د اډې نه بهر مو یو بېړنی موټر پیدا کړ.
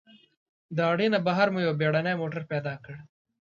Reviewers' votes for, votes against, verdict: 2, 0, accepted